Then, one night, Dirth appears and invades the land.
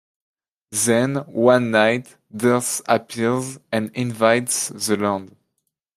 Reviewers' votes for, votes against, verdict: 2, 0, accepted